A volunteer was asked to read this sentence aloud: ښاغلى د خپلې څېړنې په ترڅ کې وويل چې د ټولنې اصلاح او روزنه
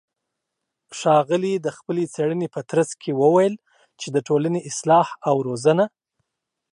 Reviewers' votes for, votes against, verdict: 2, 0, accepted